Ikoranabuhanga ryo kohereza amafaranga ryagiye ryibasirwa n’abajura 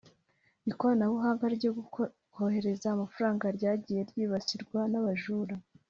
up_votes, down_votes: 2, 0